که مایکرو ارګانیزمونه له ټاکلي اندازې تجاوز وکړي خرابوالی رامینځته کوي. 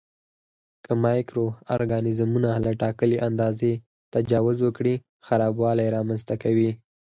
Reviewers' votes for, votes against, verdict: 4, 0, accepted